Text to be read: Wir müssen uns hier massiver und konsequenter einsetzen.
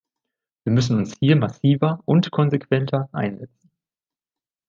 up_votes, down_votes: 1, 2